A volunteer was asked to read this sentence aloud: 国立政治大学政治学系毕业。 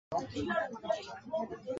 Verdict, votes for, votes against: rejected, 1, 2